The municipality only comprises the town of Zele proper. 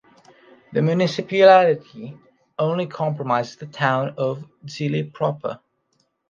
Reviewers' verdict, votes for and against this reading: rejected, 1, 2